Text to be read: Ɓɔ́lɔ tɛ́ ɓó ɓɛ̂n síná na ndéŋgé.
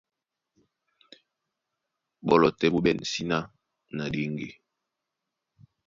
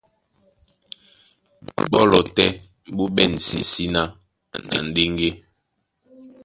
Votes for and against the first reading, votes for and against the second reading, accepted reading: 2, 0, 0, 3, first